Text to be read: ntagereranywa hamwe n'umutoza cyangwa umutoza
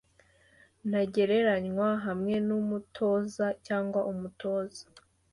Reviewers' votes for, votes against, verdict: 2, 1, accepted